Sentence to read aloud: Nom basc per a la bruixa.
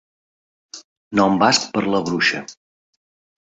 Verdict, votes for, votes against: rejected, 0, 2